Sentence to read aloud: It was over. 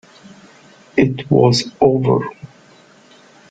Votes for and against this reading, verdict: 2, 0, accepted